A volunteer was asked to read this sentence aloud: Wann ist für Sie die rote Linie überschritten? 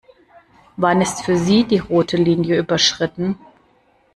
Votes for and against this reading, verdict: 2, 0, accepted